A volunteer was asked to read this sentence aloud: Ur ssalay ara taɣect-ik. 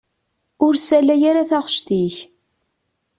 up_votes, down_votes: 2, 0